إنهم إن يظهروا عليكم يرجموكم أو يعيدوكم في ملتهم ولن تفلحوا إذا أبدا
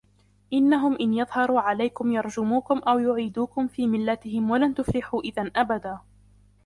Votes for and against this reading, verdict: 2, 1, accepted